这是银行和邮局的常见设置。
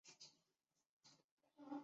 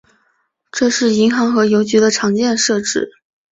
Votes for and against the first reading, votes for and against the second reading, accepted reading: 0, 2, 2, 0, second